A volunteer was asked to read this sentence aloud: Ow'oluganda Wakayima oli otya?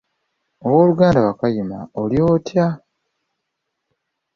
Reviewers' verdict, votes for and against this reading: accepted, 2, 0